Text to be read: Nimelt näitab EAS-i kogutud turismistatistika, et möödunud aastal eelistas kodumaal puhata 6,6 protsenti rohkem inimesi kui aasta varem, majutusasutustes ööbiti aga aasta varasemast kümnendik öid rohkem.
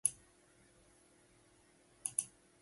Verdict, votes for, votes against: rejected, 0, 2